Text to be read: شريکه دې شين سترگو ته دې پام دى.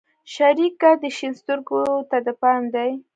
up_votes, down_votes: 1, 2